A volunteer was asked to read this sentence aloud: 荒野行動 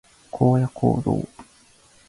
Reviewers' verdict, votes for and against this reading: accepted, 3, 0